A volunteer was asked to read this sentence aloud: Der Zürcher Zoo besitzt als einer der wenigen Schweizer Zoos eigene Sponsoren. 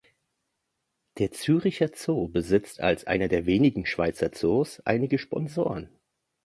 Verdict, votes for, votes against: rejected, 0, 2